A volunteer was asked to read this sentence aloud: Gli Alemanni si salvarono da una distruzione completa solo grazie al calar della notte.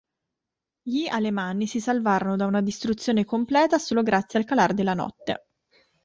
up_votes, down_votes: 2, 0